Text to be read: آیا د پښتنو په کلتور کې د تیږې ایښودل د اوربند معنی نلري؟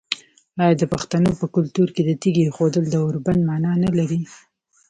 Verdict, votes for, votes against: accepted, 2, 0